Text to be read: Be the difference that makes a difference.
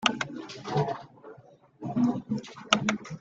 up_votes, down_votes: 0, 2